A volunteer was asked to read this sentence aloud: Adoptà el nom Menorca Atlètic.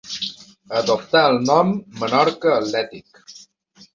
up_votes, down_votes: 3, 0